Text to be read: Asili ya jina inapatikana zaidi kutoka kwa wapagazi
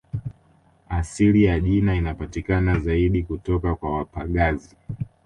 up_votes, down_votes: 1, 2